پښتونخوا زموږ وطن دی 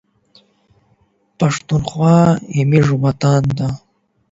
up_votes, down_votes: 8, 0